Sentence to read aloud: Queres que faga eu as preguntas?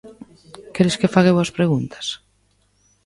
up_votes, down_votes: 1, 2